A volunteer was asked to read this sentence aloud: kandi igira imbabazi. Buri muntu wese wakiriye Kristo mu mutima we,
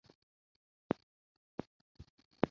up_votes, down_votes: 0, 2